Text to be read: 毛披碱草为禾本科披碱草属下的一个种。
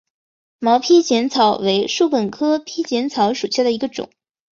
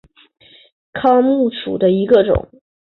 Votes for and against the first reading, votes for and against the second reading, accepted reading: 2, 1, 0, 2, first